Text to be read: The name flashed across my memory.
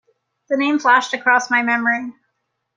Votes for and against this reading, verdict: 2, 0, accepted